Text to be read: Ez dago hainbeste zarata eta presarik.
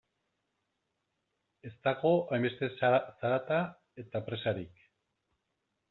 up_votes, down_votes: 0, 2